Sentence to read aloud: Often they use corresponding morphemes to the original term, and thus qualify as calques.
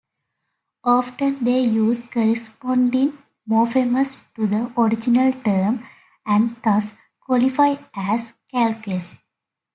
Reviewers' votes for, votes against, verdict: 3, 0, accepted